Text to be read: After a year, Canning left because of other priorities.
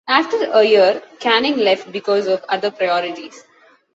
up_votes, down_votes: 2, 1